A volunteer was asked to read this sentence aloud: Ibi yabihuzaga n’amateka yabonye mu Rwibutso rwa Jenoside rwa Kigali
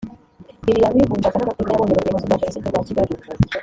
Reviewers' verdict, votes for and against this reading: rejected, 1, 2